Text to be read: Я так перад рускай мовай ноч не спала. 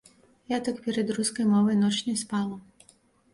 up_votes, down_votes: 2, 0